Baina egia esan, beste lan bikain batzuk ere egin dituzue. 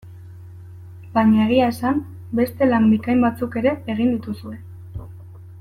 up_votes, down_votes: 2, 0